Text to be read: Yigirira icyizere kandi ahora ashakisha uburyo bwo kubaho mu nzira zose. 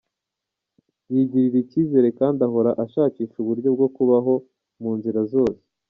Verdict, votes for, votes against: rejected, 1, 2